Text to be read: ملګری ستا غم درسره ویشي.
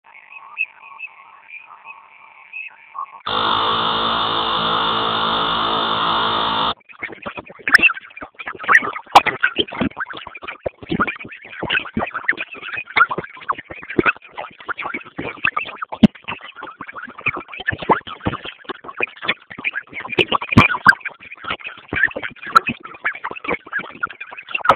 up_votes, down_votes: 0, 2